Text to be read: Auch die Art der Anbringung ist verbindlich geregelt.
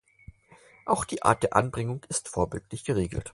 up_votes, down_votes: 0, 4